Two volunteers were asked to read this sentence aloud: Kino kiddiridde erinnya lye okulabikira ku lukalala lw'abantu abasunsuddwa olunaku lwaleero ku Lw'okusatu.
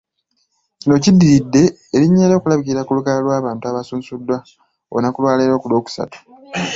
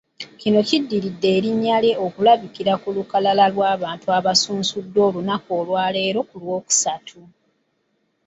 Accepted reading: first